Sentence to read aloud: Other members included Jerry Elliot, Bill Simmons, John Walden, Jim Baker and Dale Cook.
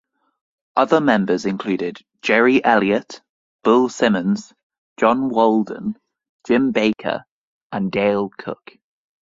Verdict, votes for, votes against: accepted, 6, 3